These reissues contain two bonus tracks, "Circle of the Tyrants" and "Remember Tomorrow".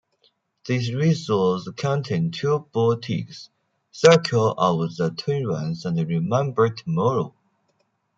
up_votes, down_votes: 0, 2